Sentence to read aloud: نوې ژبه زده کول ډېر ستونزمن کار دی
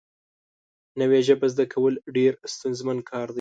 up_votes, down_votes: 2, 0